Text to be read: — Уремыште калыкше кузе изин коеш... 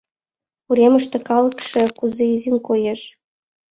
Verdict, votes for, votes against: accepted, 2, 0